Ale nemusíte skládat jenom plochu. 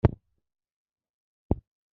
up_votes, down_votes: 0, 2